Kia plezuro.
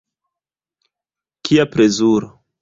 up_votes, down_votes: 1, 2